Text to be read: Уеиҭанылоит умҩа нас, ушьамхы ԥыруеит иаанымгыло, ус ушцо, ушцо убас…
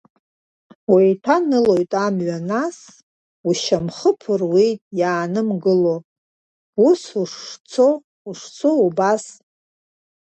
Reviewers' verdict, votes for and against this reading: rejected, 0, 2